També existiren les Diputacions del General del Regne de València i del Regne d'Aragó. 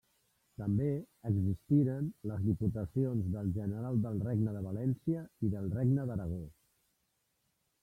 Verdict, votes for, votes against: rejected, 1, 2